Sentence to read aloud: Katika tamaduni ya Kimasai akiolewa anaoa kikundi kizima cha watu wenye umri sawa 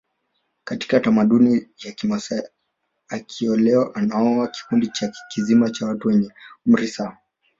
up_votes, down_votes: 2, 0